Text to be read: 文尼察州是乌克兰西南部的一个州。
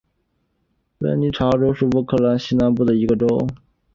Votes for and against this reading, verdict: 2, 0, accepted